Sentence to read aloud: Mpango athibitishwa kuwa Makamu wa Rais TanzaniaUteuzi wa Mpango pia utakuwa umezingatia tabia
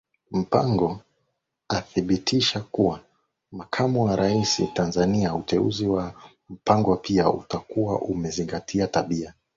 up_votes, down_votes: 2, 0